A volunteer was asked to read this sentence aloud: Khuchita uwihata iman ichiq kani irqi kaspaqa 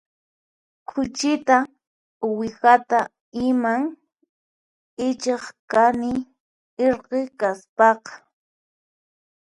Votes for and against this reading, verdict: 2, 4, rejected